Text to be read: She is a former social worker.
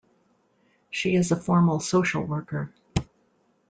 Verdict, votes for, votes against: rejected, 0, 2